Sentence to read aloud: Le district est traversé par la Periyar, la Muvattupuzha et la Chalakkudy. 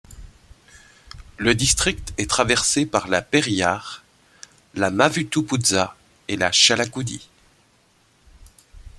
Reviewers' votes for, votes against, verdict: 0, 2, rejected